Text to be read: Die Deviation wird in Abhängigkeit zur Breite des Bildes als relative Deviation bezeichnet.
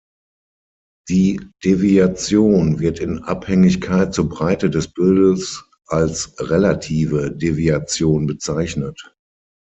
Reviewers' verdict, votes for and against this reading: accepted, 6, 0